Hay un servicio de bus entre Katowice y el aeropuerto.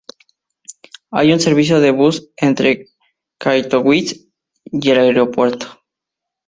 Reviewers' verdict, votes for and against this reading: rejected, 2, 2